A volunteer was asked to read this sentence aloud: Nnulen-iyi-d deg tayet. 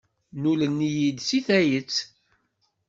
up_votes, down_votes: 2, 0